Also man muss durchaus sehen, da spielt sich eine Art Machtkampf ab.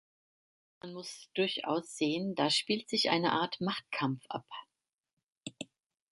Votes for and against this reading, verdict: 0, 2, rejected